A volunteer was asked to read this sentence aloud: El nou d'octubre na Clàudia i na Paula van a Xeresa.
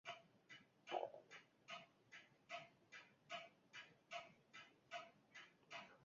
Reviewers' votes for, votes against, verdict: 1, 2, rejected